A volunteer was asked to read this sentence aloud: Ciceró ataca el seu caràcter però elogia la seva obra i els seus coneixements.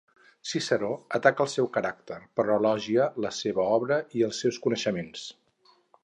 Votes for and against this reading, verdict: 4, 0, accepted